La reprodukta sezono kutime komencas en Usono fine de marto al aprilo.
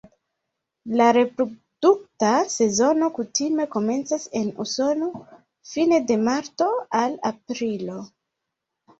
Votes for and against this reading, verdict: 2, 1, accepted